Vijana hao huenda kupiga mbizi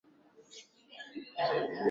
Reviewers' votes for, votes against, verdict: 0, 2, rejected